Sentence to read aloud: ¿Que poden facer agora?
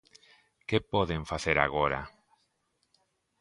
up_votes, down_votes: 2, 0